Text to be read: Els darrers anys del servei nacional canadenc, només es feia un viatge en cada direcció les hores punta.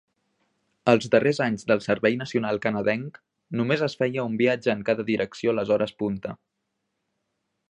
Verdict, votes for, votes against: accepted, 2, 0